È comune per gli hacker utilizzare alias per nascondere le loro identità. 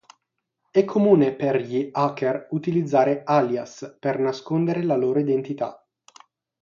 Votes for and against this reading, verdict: 3, 3, rejected